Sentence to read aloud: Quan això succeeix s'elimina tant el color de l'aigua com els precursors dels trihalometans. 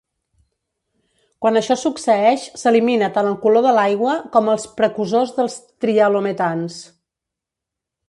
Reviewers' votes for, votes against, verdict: 0, 2, rejected